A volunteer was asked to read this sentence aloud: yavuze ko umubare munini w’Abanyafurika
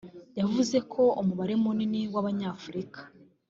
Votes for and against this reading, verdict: 2, 0, accepted